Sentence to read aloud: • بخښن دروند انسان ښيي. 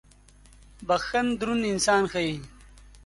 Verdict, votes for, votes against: accepted, 3, 0